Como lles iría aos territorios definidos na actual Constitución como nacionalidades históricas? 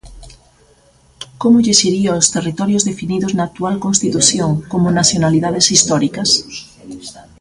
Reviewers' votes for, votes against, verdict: 1, 2, rejected